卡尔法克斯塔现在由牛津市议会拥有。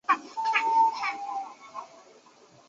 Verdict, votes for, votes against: rejected, 0, 2